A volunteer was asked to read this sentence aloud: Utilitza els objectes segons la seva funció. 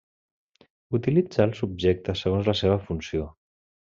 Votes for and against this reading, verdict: 2, 1, accepted